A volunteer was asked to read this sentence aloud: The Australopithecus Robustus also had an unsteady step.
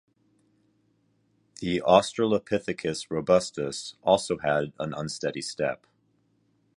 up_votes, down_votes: 2, 0